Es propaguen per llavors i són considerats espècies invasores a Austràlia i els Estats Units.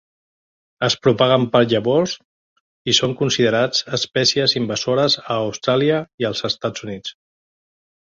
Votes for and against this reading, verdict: 3, 0, accepted